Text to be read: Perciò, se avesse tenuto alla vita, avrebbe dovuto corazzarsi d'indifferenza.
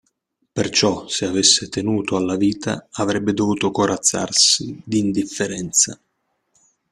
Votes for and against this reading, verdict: 2, 0, accepted